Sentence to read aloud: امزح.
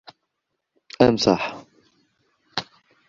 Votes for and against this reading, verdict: 0, 2, rejected